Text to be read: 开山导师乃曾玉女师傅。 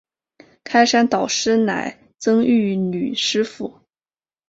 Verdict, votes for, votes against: accepted, 2, 0